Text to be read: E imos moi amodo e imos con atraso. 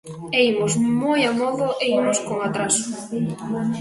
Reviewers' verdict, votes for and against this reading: accepted, 2, 1